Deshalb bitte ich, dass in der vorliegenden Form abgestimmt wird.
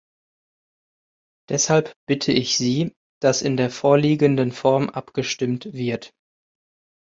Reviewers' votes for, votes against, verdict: 0, 2, rejected